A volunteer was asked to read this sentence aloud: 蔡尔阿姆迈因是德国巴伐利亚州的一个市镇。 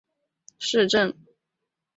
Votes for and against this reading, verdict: 0, 2, rejected